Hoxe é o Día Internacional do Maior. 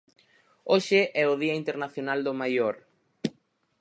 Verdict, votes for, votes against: accepted, 4, 0